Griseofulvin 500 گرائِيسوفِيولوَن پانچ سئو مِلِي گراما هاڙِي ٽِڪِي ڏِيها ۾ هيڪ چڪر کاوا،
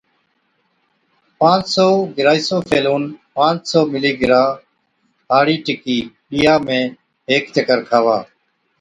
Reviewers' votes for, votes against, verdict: 0, 2, rejected